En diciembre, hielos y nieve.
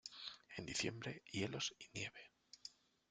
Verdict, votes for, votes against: rejected, 0, 2